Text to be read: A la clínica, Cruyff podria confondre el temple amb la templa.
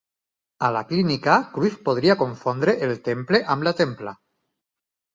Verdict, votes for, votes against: accepted, 4, 0